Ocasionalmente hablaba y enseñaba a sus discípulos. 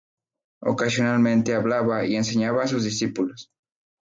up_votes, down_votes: 4, 0